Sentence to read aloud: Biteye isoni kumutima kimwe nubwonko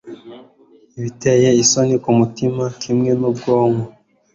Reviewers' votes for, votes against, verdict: 2, 0, accepted